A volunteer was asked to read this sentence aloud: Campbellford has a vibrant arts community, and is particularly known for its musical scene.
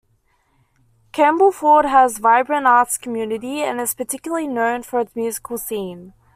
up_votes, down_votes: 2, 0